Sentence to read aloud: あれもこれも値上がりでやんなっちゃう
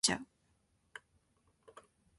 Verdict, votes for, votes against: rejected, 0, 3